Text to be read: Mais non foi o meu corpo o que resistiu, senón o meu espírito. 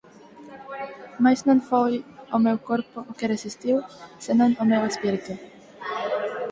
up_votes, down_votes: 4, 0